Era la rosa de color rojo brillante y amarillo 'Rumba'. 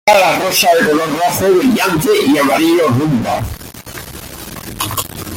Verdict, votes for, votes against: rejected, 1, 3